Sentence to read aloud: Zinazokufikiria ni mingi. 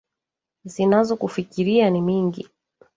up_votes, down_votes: 1, 2